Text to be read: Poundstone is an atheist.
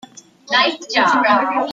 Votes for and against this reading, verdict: 0, 2, rejected